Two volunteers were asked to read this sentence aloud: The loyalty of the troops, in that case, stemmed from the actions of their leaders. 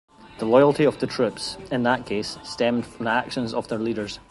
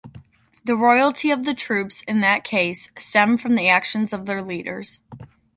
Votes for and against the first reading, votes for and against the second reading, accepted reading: 1, 2, 2, 0, second